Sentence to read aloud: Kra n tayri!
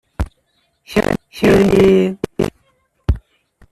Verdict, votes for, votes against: rejected, 0, 2